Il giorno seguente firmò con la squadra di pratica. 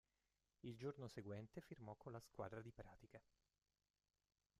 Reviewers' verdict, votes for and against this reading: rejected, 0, 2